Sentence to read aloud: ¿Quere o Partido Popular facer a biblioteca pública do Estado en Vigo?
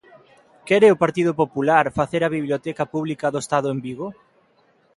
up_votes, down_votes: 2, 0